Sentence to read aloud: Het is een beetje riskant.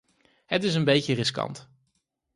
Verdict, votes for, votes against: accepted, 4, 0